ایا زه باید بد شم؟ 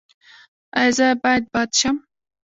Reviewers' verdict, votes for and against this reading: rejected, 0, 2